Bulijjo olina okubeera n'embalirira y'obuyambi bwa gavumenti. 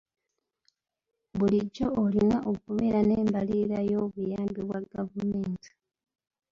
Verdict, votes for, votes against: rejected, 1, 2